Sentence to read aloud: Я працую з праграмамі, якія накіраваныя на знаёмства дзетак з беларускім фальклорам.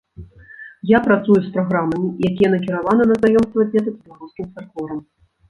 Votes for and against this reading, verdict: 0, 2, rejected